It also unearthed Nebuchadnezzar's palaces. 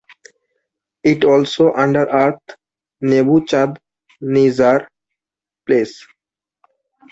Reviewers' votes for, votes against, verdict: 0, 2, rejected